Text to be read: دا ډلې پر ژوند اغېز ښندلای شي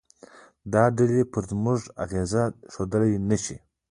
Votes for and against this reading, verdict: 1, 2, rejected